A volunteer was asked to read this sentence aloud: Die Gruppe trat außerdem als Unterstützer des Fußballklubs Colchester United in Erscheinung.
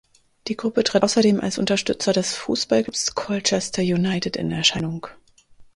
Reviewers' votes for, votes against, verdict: 0, 4, rejected